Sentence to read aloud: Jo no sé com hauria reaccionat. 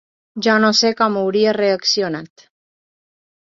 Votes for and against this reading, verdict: 2, 0, accepted